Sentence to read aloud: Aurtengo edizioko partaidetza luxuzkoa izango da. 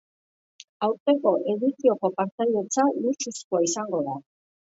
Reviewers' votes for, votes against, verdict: 2, 0, accepted